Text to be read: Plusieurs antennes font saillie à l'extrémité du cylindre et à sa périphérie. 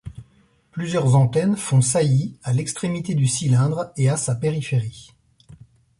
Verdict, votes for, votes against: accepted, 2, 0